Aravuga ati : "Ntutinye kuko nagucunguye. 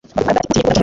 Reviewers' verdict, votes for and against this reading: rejected, 0, 3